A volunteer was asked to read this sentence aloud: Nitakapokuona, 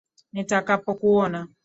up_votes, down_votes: 2, 0